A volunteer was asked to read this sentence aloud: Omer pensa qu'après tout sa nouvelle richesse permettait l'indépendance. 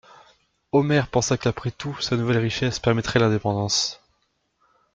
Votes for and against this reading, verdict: 1, 2, rejected